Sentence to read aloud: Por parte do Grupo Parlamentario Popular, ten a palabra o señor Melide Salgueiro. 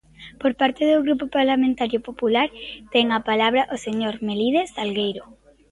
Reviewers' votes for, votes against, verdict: 2, 0, accepted